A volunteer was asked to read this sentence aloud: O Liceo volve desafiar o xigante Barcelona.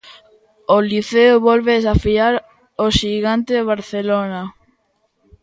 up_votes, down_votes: 0, 2